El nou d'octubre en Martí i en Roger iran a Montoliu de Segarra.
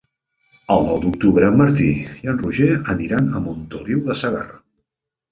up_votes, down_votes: 1, 2